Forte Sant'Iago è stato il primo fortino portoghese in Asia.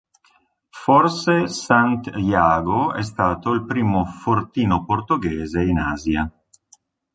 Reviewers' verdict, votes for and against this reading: rejected, 0, 2